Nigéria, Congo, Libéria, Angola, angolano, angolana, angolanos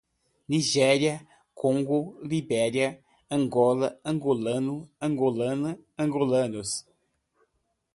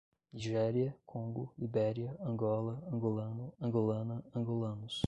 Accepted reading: first